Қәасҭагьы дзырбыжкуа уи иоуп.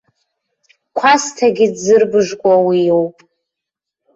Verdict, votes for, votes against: accepted, 2, 1